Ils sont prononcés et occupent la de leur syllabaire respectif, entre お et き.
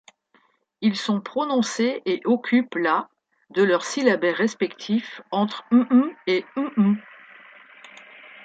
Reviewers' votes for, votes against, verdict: 0, 2, rejected